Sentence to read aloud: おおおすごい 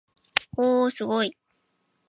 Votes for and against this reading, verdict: 5, 0, accepted